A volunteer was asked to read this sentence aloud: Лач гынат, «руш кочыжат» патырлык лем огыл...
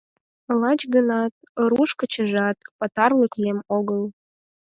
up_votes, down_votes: 4, 0